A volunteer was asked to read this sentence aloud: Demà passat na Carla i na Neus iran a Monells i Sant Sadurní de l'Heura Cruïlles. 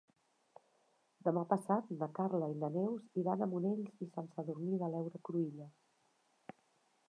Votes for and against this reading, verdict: 0, 2, rejected